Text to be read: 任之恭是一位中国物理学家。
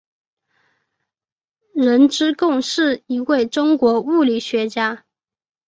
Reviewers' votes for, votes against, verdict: 4, 0, accepted